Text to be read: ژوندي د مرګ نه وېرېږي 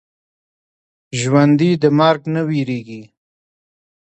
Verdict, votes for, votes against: accepted, 2, 0